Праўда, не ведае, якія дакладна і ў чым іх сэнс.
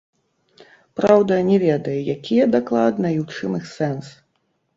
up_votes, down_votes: 1, 2